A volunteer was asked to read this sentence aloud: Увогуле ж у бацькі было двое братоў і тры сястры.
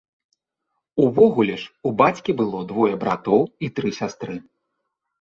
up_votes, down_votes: 2, 0